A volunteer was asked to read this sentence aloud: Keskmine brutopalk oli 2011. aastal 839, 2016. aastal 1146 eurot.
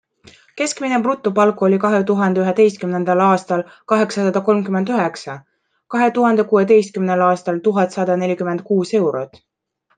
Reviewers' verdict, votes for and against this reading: rejected, 0, 2